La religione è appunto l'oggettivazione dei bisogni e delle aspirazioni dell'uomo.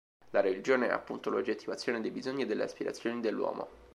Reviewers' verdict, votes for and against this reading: accepted, 3, 0